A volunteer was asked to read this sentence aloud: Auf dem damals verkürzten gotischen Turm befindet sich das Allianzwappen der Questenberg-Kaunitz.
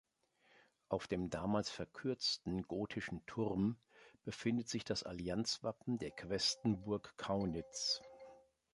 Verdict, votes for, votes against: rejected, 1, 3